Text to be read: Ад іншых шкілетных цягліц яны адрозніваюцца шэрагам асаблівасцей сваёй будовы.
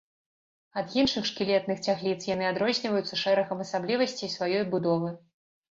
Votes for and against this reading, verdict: 2, 0, accepted